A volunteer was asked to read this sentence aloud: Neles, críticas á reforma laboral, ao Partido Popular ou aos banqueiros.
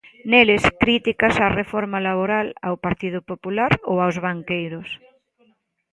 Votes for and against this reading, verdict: 2, 0, accepted